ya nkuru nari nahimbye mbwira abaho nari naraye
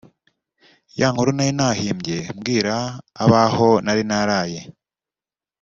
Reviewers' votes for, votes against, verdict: 2, 0, accepted